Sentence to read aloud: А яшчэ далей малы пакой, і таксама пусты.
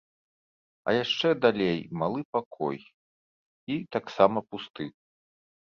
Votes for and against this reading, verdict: 4, 0, accepted